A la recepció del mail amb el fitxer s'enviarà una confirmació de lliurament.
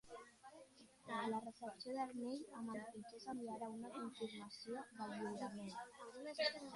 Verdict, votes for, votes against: rejected, 0, 2